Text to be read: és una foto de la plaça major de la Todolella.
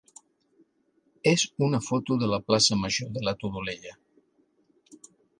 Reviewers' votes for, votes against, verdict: 4, 0, accepted